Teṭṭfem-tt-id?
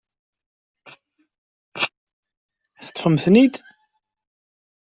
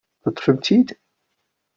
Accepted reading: second